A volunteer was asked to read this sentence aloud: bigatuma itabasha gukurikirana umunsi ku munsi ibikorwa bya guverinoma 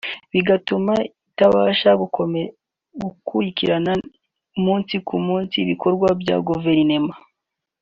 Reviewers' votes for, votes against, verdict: 2, 3, rejected